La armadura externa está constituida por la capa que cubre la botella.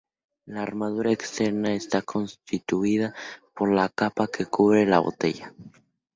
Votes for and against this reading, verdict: 2, 0, accepted